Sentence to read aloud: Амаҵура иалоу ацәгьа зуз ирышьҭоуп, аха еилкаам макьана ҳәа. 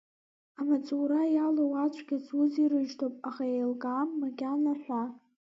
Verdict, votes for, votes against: rejected, 1, 2